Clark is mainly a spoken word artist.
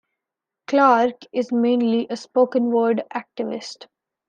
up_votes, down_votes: 0, 2